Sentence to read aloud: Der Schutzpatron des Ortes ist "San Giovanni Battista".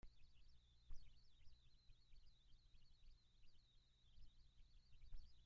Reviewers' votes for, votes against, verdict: 0, 2, rejected